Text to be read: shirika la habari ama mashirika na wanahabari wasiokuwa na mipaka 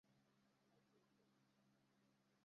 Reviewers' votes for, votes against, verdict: 0, 2, rejected